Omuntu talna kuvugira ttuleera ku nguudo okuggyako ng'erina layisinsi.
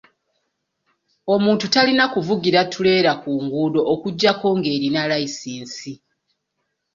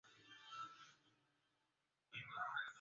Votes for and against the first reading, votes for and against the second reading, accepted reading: 2, 0, 0, 2, first